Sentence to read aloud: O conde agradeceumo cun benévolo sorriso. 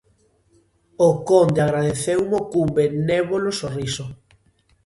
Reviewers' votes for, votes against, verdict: 2, 0, accepted